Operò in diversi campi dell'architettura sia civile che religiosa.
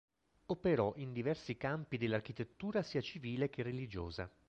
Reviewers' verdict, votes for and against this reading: accepted, 2, 0